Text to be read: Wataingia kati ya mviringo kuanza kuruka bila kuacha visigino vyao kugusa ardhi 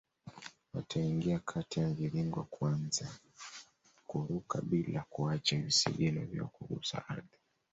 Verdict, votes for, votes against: accepted, 2, 1